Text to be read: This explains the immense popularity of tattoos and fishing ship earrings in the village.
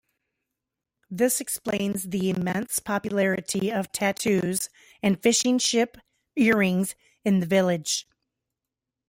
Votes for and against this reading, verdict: 2, 0, accepted